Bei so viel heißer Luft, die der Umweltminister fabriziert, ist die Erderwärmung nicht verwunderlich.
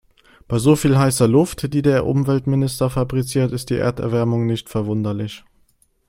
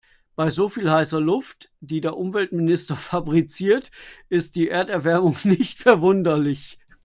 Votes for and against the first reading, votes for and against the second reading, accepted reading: 2, 0, 1, 2, first